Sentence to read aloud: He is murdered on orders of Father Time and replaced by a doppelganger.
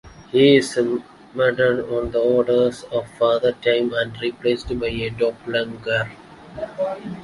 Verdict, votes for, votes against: rejected, 0, 2